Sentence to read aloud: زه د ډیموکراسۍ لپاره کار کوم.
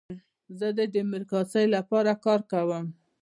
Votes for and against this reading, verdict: 0, 2, rejected